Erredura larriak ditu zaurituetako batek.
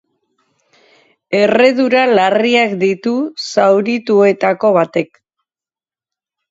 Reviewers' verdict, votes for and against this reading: accepted, 4, 0